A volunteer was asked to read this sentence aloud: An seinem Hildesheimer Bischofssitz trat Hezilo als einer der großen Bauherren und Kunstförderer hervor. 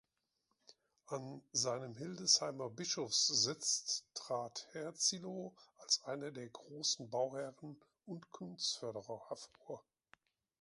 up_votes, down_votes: 0, 2